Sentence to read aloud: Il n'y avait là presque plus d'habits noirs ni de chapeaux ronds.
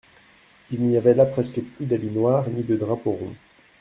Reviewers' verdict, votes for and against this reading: rejected, 0, 2